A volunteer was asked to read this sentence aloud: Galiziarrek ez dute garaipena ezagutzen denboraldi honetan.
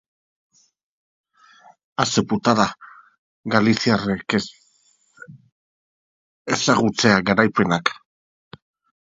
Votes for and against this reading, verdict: 0, 2, rejected